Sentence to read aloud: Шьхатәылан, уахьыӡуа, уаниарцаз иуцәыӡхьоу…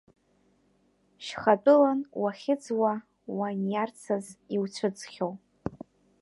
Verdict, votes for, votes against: accepted, 2, 1